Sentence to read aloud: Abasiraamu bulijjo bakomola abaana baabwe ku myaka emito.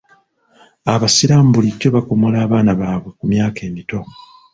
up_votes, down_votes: 1, 2